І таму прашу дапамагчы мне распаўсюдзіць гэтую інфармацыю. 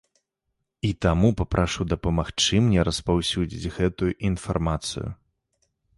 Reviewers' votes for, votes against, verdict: 1, 2, rejected